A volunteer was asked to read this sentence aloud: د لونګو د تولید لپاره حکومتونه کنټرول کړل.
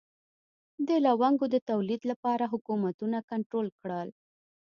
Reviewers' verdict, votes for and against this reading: accepted, 2, 0